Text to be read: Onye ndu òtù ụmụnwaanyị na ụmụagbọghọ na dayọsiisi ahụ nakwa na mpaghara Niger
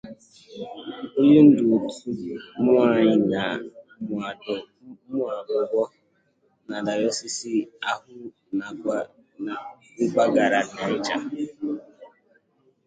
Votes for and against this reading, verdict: 0, 2, rejected